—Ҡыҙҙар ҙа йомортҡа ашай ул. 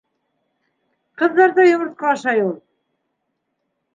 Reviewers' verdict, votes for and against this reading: accepted, 2, 0